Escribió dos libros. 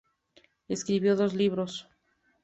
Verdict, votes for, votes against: accepted, 2, 0